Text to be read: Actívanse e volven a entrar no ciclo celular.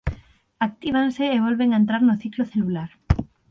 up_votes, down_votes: 6, 0